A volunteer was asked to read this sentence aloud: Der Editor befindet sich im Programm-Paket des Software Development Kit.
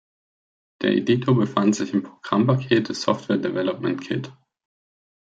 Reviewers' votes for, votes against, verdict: 0, 2, rejected